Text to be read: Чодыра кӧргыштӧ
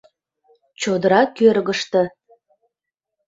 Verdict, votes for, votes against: accepted, 2, 0